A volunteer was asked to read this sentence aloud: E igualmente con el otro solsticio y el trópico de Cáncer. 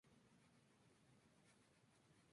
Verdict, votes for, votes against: rejected, 0, 2